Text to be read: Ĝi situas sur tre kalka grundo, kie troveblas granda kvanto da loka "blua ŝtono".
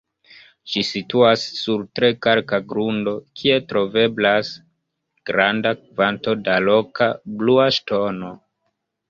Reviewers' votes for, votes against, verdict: 2, 1, accepted